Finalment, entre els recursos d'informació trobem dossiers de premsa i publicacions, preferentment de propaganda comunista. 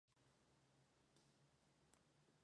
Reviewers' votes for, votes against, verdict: 0, 2, rejected